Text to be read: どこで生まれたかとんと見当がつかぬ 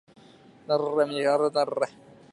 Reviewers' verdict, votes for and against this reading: rejected, 0, 2